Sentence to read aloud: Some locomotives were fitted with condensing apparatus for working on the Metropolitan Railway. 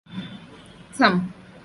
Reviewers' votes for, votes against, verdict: 0, 2, rejected